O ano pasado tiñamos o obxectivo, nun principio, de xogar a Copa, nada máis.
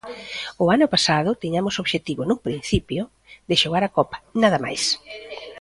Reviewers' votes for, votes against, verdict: 0, 2, rejected